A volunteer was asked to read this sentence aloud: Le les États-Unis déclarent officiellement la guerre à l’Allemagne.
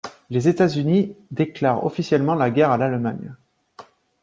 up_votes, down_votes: 1, 2